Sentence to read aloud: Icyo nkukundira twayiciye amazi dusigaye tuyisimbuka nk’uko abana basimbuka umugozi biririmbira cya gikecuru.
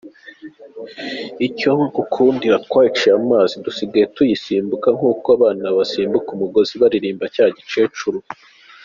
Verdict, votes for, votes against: accepted, 2, 0